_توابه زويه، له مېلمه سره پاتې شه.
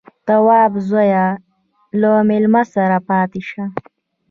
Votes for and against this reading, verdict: 2, 1, accepted